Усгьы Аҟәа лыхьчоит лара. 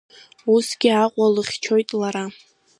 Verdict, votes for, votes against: rejected, 0, 2